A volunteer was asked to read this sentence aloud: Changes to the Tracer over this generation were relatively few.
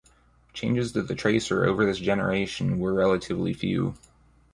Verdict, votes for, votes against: accepted, 2, 0